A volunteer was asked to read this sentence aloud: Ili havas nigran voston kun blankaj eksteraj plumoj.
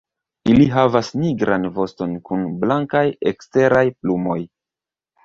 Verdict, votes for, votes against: rejected, 1, 2